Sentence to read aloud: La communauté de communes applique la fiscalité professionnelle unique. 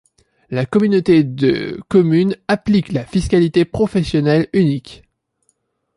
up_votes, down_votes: 2, 0